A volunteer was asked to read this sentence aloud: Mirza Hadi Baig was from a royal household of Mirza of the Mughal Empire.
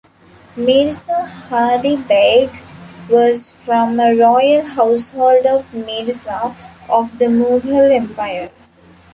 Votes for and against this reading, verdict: 1, 2, rejected